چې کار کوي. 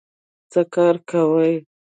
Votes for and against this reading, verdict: 0, 2, rejected